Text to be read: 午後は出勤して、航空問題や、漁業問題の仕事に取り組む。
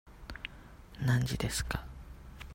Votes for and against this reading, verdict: 0, 2, rejected